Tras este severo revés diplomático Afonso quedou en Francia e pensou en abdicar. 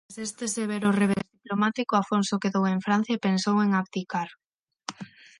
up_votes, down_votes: 0, 9